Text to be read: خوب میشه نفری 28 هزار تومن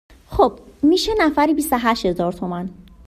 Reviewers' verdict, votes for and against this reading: rejected, 0, 2